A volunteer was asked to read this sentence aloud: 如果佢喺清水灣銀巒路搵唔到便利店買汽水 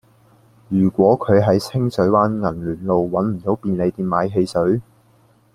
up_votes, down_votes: 2, 1